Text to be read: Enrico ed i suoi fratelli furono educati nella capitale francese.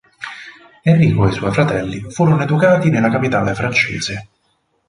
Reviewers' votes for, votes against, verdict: 2, 2, rejected